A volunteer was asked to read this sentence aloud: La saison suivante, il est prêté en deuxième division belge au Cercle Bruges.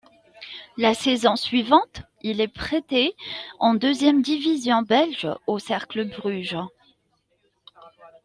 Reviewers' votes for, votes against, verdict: 2, 0, accepted